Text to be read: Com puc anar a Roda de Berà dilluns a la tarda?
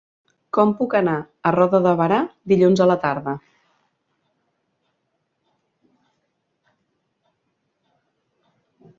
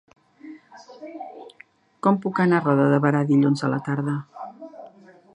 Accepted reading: first